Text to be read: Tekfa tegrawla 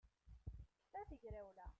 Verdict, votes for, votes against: rejected, 0, 2